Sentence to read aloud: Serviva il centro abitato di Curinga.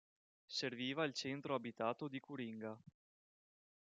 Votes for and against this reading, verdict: 2, 0, accepted